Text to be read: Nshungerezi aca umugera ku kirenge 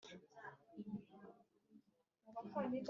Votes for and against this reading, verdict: 2, 4, rejected